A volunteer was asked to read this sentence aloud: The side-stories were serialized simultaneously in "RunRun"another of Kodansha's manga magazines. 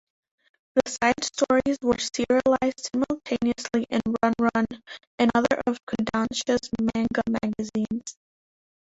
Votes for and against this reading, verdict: 1, 2, rejected